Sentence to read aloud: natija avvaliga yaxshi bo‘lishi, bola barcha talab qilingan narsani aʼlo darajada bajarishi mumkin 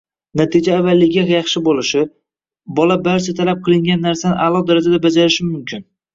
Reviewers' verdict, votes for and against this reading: rejected, 1, 2